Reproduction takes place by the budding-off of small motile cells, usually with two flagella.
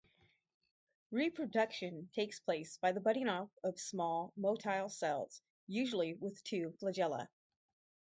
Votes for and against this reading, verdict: 2, 0, accepted